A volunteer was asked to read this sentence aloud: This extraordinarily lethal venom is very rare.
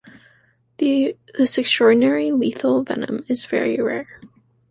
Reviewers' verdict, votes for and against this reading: rejected, 1, 2